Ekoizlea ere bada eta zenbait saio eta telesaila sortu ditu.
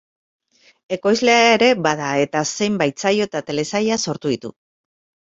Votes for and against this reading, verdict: 0, 2, rejected